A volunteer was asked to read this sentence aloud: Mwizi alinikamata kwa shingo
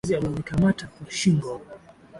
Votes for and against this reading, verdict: 6, 0, accepted